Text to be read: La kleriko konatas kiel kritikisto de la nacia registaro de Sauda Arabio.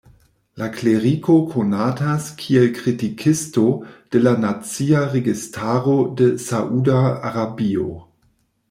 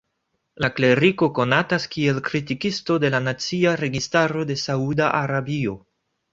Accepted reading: second